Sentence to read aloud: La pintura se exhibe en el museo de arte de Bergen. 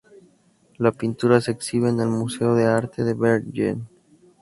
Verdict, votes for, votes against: accepted, 2, 0